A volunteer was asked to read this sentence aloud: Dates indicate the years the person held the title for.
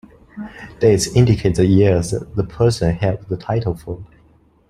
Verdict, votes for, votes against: accepted, 2, 1